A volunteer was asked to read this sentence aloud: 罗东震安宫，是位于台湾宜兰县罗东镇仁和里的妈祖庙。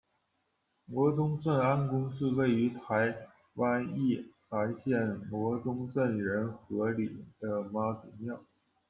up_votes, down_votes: 1, 2